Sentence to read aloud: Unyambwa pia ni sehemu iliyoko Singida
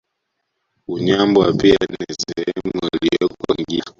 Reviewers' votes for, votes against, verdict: 1, 2, rejected